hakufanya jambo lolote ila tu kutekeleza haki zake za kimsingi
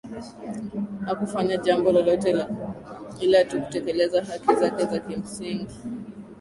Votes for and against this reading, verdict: 2, 1, accepted